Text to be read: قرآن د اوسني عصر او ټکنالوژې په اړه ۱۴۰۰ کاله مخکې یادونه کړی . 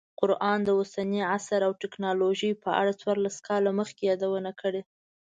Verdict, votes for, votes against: rejected, 0, 2